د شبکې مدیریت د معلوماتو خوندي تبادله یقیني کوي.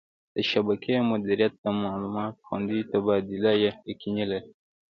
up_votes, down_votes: 1, 2